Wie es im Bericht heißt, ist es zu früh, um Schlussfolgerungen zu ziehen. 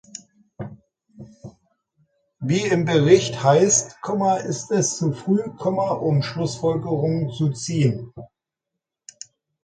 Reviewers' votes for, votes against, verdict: 0, 2, rejected